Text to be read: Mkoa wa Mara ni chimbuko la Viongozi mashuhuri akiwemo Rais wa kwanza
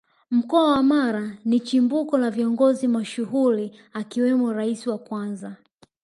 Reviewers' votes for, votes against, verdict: 0, 2, rejected